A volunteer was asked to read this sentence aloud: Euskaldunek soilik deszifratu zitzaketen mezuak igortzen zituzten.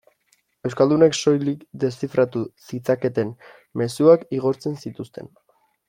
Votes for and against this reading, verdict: 2, 0, accepted